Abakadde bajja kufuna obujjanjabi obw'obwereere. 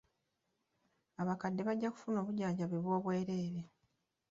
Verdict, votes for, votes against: rejected, 1, 2